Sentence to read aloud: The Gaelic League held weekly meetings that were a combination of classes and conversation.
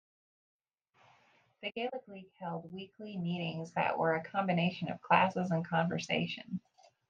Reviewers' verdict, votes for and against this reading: rejected, 0, 2